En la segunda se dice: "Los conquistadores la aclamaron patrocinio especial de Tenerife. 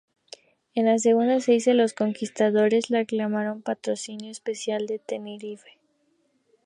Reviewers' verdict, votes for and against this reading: rejected, 2, 2